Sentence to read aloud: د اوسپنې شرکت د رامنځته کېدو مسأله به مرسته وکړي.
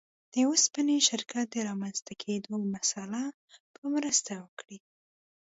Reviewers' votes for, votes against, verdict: 2, 0, accepted